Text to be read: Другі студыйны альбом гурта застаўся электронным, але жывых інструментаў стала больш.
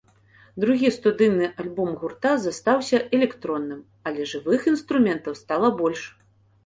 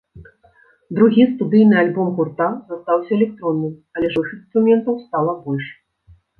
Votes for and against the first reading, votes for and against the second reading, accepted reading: 2, 0, 1, 2, first